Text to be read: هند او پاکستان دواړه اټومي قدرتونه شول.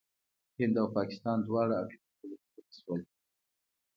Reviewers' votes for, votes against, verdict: 2, 1, accepted